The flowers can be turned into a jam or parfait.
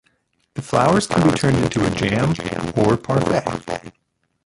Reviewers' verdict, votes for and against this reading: rejected, 1, 2